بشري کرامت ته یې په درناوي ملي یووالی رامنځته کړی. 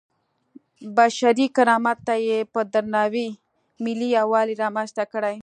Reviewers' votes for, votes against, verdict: 2, 0, accepted